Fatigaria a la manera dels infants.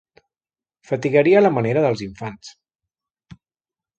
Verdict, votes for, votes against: accepted, 2, 0